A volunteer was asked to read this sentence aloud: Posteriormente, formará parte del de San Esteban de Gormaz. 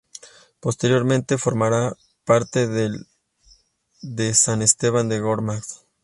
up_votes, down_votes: 2, 0